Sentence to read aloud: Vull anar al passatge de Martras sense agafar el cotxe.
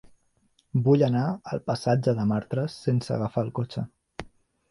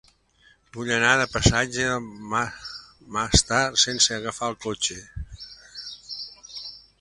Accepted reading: first